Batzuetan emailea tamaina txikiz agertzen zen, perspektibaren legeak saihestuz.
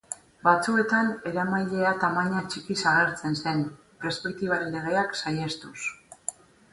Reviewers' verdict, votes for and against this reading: rejected, 2, 6